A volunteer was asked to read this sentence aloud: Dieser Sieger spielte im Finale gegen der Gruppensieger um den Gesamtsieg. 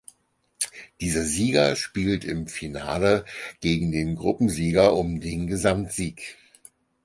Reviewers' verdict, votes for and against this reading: rejected, 2, 4